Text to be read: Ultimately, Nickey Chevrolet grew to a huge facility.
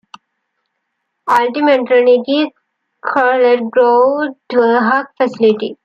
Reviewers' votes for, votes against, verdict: 0, 2, rejected